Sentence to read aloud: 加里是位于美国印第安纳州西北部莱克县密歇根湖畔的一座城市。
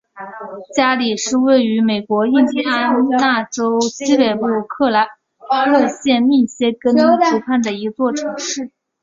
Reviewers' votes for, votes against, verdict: 0, 2, rejected